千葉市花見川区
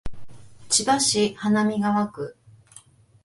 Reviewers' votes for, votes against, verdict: 2, 0, accepted